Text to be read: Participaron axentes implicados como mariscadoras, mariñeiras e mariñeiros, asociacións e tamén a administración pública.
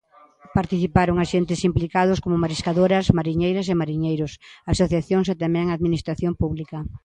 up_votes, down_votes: 2, 0